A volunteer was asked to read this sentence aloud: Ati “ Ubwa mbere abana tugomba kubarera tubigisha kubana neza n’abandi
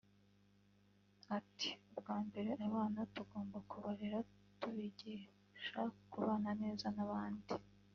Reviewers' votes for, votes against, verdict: 1, 2, rejected